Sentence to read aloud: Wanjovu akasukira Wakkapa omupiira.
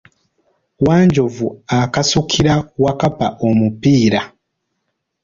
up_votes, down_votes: 0, 2